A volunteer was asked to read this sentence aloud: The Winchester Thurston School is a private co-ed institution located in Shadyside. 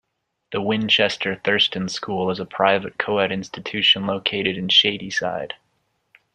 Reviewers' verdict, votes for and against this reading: accepted, 2, 0